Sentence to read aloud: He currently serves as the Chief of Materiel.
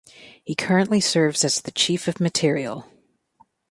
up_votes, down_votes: 2, 0